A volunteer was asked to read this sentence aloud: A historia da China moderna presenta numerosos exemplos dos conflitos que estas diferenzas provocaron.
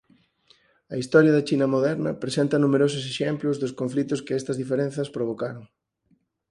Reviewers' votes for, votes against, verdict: 4, 0, accepted